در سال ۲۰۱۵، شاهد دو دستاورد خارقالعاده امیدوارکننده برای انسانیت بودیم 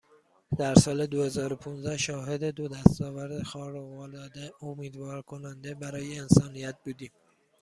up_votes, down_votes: 0, 2